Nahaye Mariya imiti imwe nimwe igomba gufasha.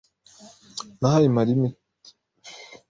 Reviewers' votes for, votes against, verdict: 0, 2, rejected